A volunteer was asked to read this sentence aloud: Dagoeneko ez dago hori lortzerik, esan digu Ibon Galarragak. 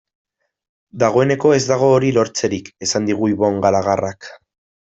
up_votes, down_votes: 1, 2